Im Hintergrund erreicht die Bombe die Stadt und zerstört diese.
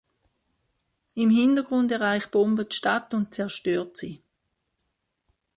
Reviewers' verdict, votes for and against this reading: rejected, 0, 2